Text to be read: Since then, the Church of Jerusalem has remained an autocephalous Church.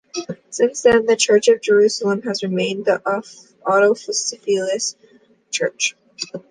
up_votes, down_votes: 0, 2